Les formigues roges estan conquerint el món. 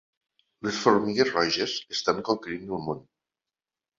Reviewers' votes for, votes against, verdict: 2, 1, accepted